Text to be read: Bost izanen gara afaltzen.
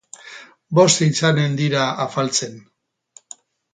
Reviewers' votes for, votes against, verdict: 2, 2, rejected